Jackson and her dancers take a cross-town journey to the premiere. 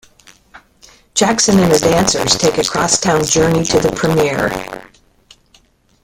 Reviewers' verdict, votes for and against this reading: rejected, 1, 2